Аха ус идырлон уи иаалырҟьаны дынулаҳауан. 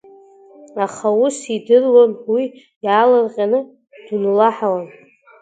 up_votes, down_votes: 0, 2